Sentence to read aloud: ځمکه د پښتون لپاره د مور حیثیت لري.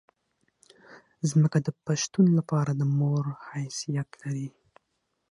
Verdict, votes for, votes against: accepted, 6, 0